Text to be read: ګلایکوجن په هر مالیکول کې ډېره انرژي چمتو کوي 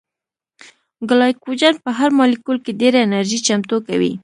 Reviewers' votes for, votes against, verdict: 0, 2, rejected